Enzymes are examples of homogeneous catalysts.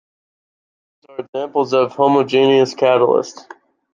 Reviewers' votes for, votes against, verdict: 0, 2, rejected